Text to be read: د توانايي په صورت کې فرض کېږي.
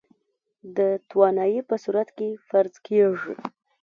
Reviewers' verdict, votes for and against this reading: rejected, 1, 2